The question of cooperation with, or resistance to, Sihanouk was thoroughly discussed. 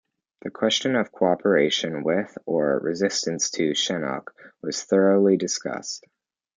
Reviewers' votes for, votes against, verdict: 2, 0, accepted